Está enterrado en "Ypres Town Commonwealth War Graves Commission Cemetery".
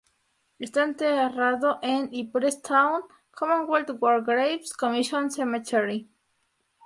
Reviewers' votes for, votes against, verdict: 0, 4, rejected